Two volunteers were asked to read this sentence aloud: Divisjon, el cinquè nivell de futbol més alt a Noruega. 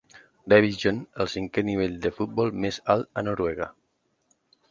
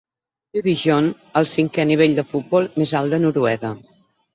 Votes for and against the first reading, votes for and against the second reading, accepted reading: 2, 0, 0, 6, first